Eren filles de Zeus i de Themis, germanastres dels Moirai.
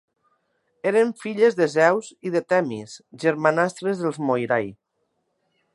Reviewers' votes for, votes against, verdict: 5, 0, accepted